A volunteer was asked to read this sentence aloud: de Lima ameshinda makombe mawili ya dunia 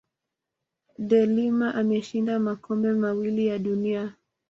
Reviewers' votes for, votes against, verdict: 2, 0, accepted